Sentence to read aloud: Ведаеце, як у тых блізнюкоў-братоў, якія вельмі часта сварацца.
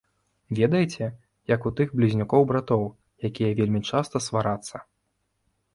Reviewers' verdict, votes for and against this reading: rejected, 1, 2